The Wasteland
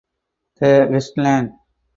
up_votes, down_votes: 4, 2